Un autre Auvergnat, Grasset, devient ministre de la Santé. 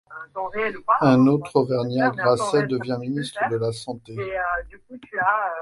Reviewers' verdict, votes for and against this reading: rejected, 1, 2